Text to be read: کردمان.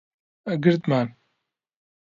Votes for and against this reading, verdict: 0, 2, rejected